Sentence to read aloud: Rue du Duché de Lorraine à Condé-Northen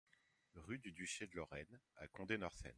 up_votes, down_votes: 2, 1